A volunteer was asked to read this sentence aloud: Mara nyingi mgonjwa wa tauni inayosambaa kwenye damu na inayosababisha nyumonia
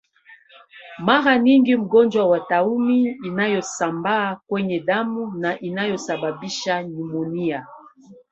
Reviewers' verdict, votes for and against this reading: rejected, 0, 2